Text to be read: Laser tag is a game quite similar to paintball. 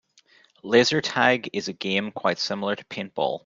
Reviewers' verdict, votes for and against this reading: accepted, 2, 0